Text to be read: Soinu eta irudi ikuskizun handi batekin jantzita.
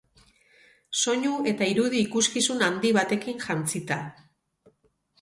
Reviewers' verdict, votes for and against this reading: accepted, 2, 0